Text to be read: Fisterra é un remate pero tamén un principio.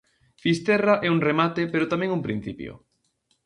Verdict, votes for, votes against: accepted, 2, 0